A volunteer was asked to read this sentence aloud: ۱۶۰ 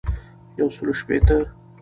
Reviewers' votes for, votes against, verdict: 0, 2, rejected